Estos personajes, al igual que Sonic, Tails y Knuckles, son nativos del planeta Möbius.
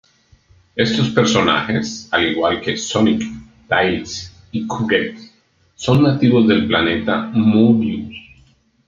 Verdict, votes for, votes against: rejected, 0, 2